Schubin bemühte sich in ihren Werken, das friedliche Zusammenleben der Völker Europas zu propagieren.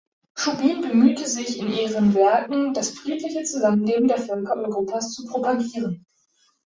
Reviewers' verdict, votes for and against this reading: accepted, 2, 0